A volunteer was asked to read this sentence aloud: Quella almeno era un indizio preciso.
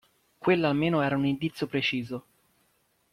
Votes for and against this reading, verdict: 2, 0, accepted